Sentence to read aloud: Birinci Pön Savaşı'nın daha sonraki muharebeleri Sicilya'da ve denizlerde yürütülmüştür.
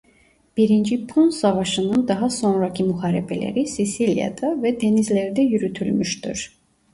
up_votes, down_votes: 0, 2